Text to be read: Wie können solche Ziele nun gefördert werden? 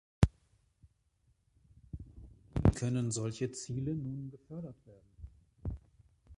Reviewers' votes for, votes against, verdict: 0, 2, rejected